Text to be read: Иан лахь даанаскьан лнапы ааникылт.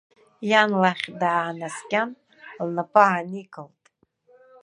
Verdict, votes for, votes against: accepted, 2, 0